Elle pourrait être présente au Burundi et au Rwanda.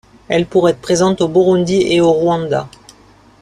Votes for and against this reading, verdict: 1, 2, rejected